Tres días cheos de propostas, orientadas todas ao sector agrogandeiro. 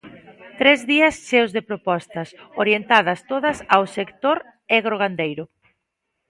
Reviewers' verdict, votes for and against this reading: rejected, 0, 2